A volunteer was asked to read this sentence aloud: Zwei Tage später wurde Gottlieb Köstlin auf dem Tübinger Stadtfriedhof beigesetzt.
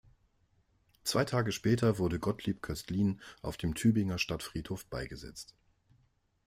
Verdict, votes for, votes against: accepted, 2, 0